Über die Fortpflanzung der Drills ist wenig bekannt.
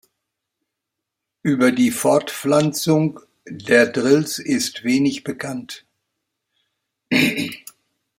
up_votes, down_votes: 4, 2